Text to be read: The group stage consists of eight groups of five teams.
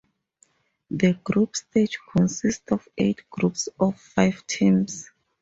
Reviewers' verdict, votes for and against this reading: rejected, 0, 2